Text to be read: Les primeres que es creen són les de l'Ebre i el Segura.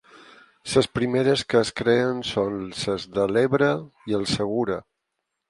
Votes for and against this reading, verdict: 0, 4, rejected